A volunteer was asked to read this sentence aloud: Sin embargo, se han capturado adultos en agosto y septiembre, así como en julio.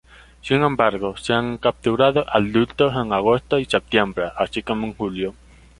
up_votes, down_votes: 0, 2